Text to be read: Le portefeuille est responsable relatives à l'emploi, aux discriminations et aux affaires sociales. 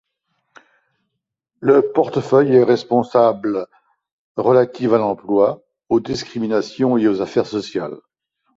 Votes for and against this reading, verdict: 2, 0, accepted